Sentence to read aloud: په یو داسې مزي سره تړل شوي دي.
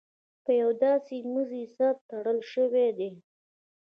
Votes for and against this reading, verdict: 2, 0, accepted